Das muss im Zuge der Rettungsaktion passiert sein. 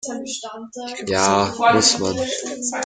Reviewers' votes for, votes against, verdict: 0, 2, rejected